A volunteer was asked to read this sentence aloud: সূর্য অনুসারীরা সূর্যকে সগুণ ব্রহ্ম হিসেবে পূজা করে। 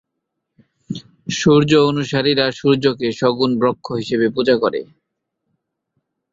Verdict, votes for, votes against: rejected, 0, 3